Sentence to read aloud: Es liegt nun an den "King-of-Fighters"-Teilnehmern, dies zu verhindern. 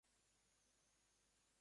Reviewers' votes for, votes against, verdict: 0, 2, rejected